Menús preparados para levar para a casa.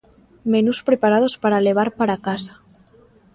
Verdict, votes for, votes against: accepted, 2, 0